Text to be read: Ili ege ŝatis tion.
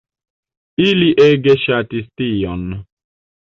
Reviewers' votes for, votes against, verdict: 2, 0, accepted